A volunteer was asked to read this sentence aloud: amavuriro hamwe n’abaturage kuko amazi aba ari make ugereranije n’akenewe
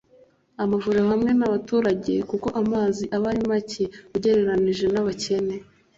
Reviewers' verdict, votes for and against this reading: rejected, 1, 2